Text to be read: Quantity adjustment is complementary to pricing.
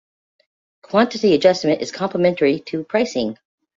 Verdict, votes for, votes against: accepted, 2, 0